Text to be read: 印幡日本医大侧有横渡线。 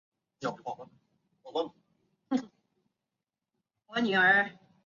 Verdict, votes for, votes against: rejected, 0, 2